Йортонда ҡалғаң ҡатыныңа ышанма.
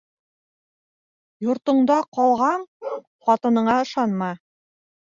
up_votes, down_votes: 0, 2